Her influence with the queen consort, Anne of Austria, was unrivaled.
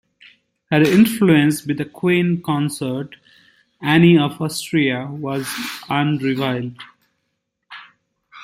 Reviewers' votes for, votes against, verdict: 1, 2, rejected